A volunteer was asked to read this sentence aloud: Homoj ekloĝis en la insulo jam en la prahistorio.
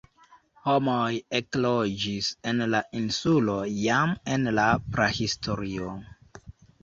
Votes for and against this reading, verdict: 1, 2, rejected